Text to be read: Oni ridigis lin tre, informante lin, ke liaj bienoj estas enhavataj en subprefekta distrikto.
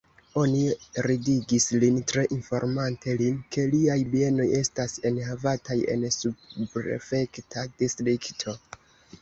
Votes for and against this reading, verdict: 1, 2, rejected